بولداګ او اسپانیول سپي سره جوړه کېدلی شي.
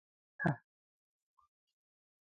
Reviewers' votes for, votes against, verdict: 0, 2, rejected